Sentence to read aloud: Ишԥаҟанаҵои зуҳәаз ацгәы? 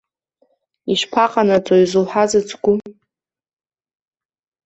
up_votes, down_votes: 2, 1